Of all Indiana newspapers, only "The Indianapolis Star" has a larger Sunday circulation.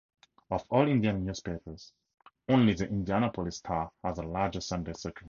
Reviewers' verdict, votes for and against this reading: rejected, 0, 4